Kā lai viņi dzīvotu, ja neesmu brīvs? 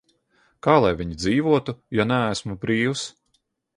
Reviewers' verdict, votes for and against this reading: accepted, 2, 0